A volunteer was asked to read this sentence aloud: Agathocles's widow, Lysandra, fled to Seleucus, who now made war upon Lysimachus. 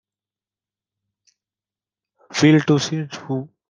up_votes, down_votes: 0, 2